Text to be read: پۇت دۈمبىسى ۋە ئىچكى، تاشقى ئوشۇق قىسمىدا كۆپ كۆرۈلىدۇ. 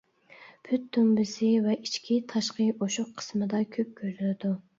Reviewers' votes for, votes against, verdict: 1, 2, rejected